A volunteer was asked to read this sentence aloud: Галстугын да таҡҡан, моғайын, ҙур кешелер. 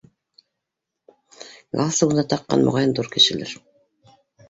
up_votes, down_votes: 2, 0